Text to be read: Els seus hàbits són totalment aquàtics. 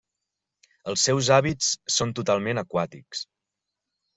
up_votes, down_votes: 4, 0